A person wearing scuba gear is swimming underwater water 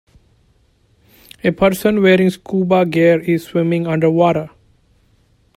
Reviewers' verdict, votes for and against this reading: rejected, 1, 2